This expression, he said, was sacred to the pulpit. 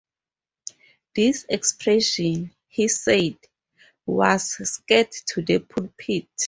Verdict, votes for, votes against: rejected, 0, 2